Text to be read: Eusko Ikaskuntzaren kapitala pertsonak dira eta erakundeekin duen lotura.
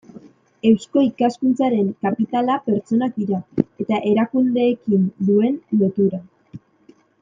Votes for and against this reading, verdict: 2, 0, accepted